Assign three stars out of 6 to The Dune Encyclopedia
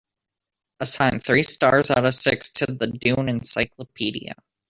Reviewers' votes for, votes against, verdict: 0, 2, rejected